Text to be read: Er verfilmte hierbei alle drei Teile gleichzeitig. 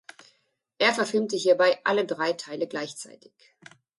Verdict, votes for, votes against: accepted, 2, 0